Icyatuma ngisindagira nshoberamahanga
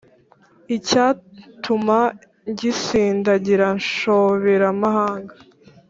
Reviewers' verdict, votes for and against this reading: accepted, 4, 0